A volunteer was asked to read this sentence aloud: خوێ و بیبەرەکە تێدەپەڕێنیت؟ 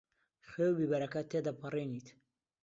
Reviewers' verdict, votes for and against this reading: accepted, 2, 0